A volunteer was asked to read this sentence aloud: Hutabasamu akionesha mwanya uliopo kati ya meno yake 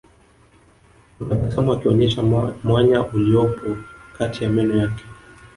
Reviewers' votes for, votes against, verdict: 1, 2, rejected